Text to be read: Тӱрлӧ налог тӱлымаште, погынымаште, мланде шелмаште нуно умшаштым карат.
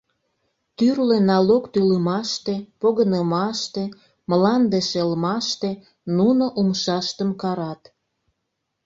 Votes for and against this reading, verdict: 2, 0, accepted